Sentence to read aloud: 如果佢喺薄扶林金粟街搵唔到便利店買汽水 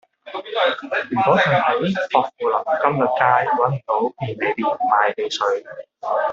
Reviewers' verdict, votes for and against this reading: rejected, 1, 2